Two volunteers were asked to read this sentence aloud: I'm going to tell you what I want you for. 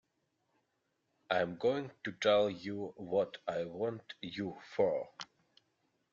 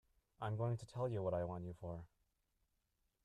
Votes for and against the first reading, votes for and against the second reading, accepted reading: 2, 0, 0, 2, first